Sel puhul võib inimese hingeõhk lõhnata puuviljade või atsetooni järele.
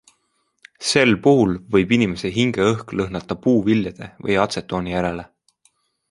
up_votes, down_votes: 2, 1